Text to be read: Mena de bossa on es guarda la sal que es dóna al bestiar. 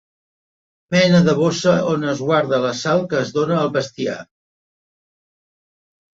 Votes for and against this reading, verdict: 3, 0, accepted